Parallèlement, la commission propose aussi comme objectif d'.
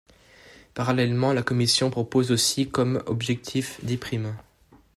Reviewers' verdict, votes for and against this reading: rejected, 1, 2